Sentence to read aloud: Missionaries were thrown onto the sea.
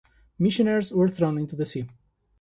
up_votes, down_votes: 1, 2